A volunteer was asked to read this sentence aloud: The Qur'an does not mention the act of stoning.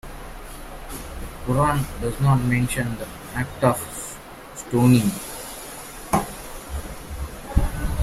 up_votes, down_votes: 1, 2